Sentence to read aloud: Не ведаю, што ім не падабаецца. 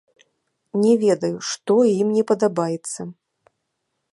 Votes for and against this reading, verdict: 0, 2, rejected